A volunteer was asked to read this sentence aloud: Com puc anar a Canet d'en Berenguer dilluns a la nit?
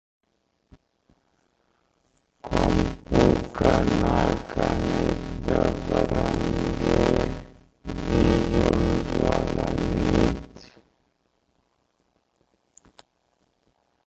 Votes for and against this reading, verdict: 0, 2, rejected